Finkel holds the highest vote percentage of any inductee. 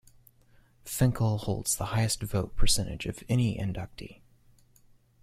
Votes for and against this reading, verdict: 2, 0, accepted